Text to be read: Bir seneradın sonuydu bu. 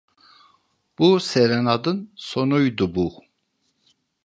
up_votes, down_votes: 0, 2